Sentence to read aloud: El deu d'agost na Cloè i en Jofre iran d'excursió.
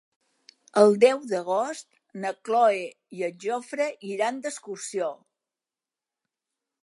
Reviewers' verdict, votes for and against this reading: rejected, 0, 2